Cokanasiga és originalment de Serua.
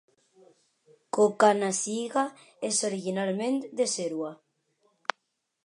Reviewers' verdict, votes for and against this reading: accepted, 2, 0